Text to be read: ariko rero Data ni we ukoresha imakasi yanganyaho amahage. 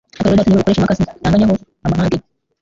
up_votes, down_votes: 0, 2